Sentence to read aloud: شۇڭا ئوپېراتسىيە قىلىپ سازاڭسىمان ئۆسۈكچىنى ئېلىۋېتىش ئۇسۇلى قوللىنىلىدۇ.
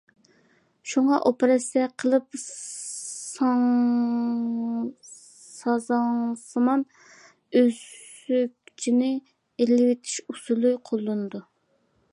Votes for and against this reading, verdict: 0, 2, rejected